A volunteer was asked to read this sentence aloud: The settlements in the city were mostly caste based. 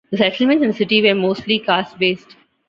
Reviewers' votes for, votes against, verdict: 1, 2, rejected